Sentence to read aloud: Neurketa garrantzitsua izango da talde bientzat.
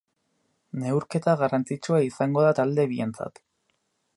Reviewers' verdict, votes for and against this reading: accepted, 2, 0